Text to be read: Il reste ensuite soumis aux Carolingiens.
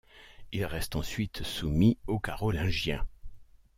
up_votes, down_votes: 2, 0